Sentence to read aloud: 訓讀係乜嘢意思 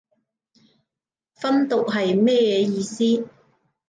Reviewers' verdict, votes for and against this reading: rejected, 1, 2